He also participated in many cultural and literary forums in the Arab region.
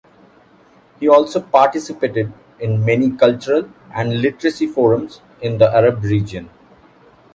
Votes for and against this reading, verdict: 1, 2, rejected